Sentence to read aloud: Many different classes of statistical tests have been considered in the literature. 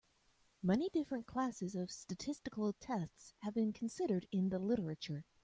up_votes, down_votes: 2, 0